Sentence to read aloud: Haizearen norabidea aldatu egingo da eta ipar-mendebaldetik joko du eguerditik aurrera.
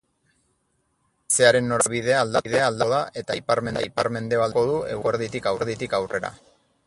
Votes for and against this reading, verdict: 0, 6, rejected